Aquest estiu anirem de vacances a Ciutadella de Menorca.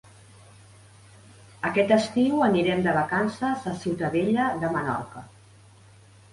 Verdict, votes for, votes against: accepted, 3, 0